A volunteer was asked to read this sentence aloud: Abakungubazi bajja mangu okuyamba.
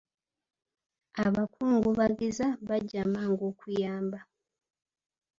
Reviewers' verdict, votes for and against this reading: rejected, 1, 2